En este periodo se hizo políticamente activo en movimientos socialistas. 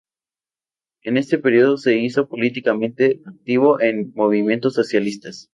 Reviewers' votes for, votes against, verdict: 2, 0, accepted